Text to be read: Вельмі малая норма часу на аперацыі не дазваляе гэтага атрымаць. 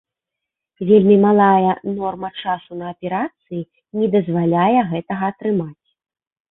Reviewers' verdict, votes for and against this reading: accepted, 2, 0